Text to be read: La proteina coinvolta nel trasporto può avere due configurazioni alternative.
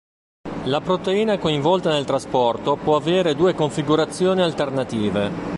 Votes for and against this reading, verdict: 2, 0, accepted